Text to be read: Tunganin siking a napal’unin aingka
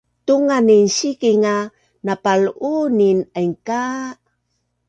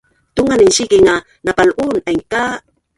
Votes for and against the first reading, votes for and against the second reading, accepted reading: 2, 0, 0, 5, first